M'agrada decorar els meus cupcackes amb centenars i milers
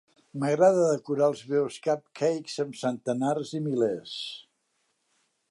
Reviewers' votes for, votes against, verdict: 2, 0, accepted